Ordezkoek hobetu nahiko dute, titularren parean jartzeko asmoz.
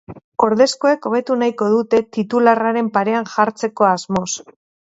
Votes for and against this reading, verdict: 0, 2, rejected